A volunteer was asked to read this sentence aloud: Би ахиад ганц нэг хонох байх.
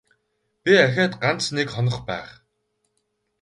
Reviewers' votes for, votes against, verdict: 2, 2, rejected